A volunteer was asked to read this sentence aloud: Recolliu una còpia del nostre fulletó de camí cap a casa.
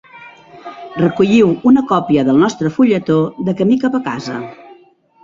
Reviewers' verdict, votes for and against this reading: rejected, 0, 2